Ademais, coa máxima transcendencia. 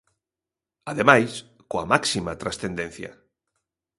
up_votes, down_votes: 2, 0